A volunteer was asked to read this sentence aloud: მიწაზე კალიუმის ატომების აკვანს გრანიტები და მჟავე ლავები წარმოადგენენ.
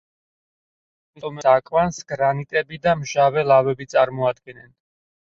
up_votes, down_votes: 0, 4